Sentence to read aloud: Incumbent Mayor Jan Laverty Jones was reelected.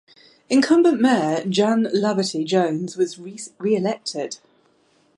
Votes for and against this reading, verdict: 1, 2, rejected